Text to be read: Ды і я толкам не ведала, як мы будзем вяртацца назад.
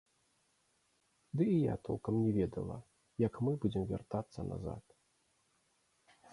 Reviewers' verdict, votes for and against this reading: accepted, 2, 0